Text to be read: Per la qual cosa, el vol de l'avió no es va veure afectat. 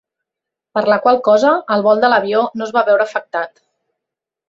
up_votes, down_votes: 2, 0